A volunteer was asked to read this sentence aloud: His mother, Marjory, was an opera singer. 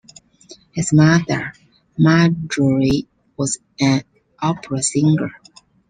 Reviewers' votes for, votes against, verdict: 0, 2, rejected